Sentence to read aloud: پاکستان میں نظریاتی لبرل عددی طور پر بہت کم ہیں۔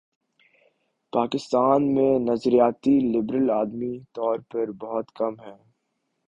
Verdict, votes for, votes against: accepted, 2, 1